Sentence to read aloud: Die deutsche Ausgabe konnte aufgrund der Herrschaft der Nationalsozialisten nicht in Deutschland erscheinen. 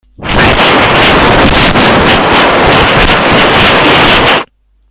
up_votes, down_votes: 0, 2